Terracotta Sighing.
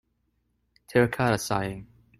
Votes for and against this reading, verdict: 2, 0, accepted